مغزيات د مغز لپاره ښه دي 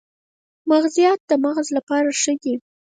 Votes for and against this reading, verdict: 0, 4, rejected